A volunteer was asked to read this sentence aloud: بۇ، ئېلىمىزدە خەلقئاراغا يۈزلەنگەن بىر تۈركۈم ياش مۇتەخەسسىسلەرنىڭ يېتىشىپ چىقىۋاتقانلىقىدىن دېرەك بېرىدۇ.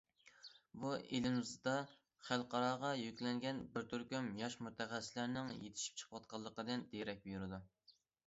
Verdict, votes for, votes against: rejected, 0, 2